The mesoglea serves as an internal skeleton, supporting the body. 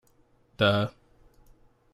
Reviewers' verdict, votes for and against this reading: rejected, 0, 2